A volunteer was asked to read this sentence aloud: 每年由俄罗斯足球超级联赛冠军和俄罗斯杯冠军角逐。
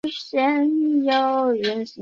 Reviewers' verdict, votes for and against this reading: rejected, 0, 3